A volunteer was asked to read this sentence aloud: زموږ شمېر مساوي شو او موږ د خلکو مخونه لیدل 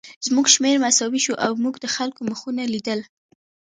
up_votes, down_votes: 3, 0